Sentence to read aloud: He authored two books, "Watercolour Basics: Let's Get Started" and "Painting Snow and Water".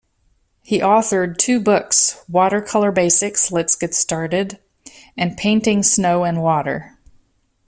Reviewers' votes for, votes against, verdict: 2, 0, accepted